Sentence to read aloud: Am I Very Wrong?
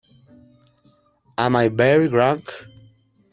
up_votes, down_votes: 0, 2